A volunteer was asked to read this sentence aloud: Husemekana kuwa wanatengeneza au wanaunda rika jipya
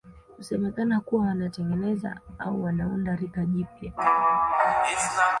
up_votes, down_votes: 1, 2